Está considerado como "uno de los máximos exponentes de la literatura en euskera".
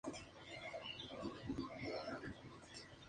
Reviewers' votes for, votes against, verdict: 2, 0, accepted